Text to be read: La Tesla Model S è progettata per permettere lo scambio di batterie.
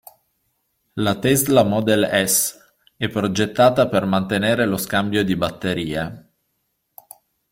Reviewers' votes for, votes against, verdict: 0, 2, rejected